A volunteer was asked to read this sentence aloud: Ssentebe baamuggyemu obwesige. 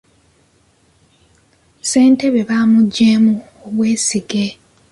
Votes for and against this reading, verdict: 2, 0, accepted